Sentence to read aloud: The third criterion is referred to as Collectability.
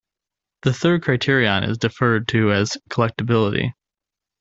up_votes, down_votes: 0, 2